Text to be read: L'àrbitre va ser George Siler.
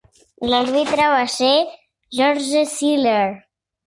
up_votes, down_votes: 0, 2